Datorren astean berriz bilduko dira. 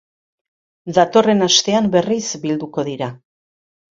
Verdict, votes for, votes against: accepted, 2, 0